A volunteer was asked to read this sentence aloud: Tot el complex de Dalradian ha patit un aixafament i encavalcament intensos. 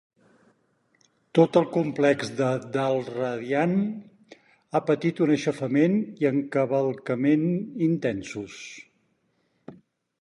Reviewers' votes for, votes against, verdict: 6, 0, accepted